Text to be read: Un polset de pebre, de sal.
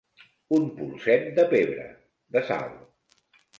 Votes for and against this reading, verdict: 3, 1, accepted